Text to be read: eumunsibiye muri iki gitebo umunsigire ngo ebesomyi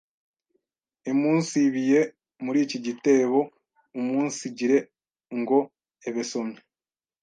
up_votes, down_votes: 1, 2